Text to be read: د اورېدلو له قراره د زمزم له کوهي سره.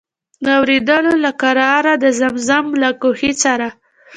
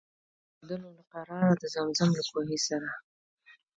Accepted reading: second